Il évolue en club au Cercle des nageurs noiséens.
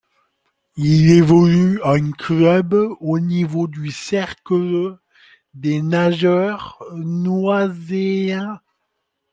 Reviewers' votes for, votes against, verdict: 0, 2, rejected